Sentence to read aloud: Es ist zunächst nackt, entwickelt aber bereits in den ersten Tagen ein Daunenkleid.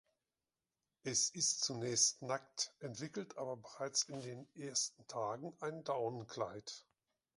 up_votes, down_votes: 3, 0